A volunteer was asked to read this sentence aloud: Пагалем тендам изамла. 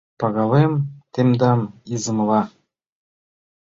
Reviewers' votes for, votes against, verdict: 1, 2, rejected